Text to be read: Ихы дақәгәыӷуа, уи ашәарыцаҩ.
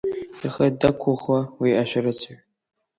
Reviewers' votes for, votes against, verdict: 2, 3, rejected